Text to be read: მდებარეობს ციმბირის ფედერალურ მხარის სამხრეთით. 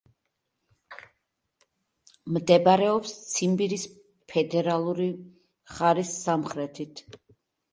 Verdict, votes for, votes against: rejected, 0, 2